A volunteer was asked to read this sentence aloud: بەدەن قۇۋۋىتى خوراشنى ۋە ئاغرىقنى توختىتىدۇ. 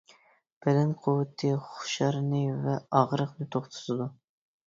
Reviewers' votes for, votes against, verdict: 0, 2, rejected